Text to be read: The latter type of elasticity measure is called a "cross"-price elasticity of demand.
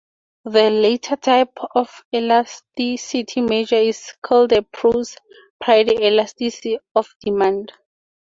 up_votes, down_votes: 2, 2